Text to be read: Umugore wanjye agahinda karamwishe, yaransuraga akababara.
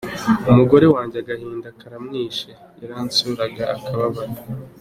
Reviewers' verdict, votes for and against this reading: accepted, 4, 2